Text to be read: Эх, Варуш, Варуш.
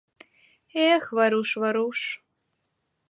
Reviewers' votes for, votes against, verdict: 2, 0, accepted